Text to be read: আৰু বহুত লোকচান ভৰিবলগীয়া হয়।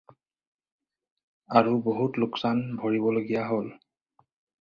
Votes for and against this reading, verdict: 2, 4, rejected